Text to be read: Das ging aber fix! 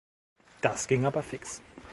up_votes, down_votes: 2, 0